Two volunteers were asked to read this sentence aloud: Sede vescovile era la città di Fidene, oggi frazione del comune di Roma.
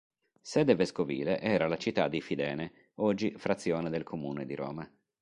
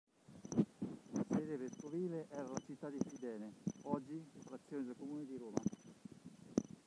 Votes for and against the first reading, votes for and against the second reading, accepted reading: 2, 0, 0, 2, first